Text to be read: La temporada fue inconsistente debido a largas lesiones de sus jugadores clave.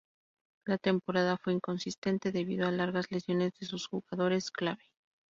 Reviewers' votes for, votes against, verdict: 0, 2, rejected